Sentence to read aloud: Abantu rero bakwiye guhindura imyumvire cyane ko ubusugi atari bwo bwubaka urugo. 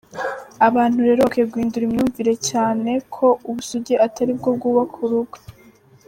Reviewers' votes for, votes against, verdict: 3, 0, accepted